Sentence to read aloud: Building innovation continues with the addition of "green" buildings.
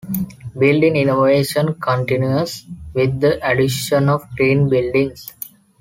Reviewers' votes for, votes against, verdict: 2, 0, accepted